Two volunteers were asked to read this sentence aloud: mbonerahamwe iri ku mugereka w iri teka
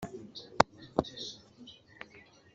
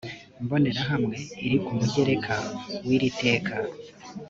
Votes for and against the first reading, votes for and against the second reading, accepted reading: 1, 3, 4, 0, second